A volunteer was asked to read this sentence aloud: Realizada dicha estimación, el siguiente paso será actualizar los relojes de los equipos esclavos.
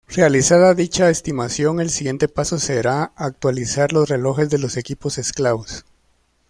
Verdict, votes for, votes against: accepted, 2, 0